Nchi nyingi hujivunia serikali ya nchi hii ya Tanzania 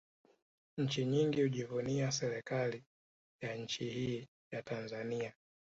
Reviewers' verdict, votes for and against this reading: accepted, 3, 1